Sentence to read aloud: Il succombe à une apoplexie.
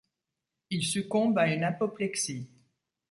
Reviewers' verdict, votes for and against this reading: accepted, 2, 0